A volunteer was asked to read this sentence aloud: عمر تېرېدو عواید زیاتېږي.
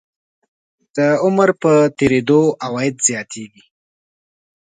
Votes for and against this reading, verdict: 0, 2, rejected